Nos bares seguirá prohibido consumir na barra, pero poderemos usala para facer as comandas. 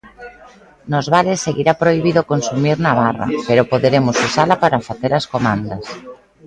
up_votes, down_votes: 2, 0